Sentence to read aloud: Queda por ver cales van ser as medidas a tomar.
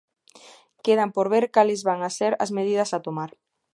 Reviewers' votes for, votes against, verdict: 1, 2, rejected